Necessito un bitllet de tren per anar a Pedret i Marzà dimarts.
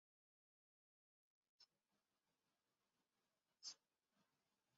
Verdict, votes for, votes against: rejected, 0, 2